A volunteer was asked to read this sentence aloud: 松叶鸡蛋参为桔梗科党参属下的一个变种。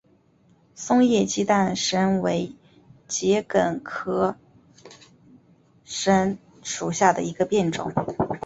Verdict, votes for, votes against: rejected, 1, 2